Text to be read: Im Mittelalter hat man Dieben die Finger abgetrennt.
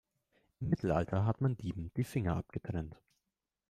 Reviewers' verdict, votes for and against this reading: rejected, 1, 2